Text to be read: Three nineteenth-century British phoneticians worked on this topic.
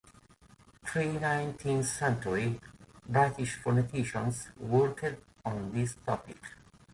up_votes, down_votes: 2, 1